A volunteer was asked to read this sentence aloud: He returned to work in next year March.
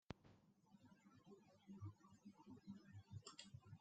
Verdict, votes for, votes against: rejected, 0, 2